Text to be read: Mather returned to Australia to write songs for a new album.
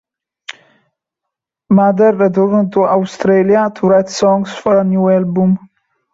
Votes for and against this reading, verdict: 2, 0, accepted